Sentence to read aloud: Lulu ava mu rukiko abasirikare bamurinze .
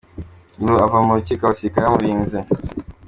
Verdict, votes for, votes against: accepted, 2, 0